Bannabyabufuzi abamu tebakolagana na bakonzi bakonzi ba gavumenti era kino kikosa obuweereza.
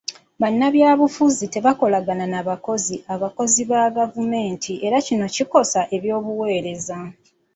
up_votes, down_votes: 0, 2